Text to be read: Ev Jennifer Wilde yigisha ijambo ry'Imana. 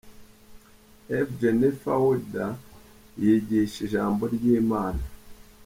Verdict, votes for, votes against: accepted, 2, 1